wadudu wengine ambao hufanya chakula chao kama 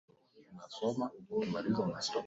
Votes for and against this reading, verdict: 0, 2, rejected